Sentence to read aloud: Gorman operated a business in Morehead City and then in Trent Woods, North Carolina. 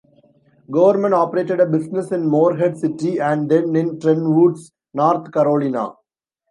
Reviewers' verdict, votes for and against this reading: rejected, 1, 2